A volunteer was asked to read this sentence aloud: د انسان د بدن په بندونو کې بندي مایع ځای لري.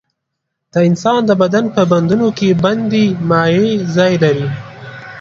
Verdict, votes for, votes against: rejected, 1, 2